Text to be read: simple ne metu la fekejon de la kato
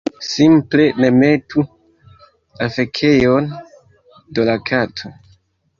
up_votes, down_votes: 1, 2